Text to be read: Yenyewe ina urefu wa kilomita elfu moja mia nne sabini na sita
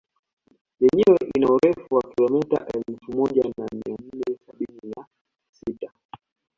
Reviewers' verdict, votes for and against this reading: accepted, 2, 0